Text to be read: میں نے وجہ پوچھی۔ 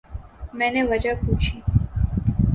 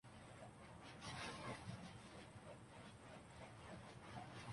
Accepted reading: first